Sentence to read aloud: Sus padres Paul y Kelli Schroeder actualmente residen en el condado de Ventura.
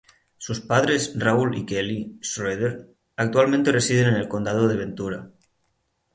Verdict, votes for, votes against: rejected, 0, 3